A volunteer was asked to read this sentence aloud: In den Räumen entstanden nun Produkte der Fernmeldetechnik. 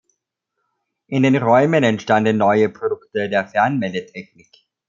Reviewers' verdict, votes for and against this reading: rejected, 0, 2